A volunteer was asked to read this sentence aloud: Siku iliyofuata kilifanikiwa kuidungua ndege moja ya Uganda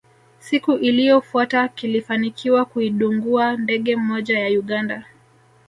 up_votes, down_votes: 0, 2